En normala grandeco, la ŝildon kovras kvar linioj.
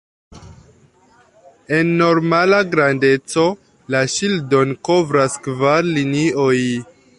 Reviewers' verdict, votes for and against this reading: accepted, 3, 2